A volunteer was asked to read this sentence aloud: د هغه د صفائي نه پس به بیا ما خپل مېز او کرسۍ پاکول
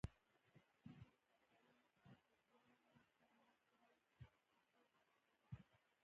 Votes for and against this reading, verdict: 0, 2, rejected